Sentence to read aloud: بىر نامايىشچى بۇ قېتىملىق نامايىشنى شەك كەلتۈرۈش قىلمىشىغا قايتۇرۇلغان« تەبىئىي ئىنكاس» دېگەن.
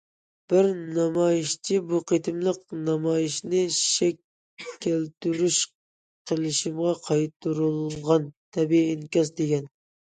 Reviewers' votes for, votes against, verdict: 0, 2, rejected